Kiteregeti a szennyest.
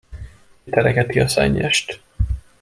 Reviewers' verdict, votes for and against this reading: rejected, 0, 2